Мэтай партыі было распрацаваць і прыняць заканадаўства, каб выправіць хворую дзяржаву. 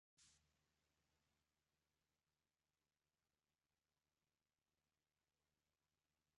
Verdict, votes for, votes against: rejected, 0, 3